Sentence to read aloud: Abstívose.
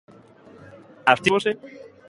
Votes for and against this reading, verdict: 0, 2, rejected